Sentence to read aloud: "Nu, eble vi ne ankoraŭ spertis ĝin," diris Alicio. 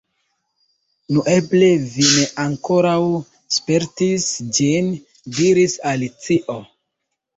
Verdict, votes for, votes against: accepted, 2, 1